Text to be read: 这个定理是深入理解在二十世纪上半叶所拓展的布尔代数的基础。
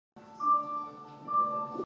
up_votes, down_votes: 1, 3